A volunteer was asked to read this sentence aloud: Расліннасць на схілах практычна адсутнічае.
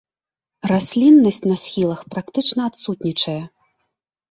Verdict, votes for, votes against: rejected, 0, 2